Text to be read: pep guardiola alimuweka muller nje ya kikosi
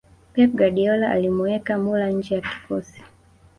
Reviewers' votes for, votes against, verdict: 1, 2, rejected